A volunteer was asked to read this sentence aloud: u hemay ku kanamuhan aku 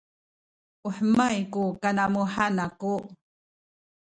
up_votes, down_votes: 2, 0